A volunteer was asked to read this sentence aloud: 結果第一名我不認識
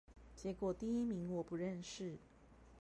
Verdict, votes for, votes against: rejected, 2, 2